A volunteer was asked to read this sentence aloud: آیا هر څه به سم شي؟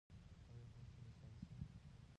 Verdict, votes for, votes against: rejected, 0, 2